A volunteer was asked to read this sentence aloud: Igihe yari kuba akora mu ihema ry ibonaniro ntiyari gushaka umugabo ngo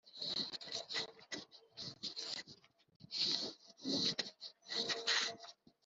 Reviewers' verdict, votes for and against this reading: rejected, 0, 2